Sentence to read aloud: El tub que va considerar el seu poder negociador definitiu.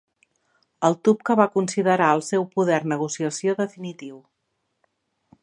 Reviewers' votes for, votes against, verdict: 0, 5, rejected